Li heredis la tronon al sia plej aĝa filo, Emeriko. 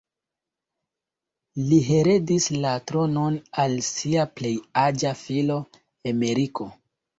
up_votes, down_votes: 2, 0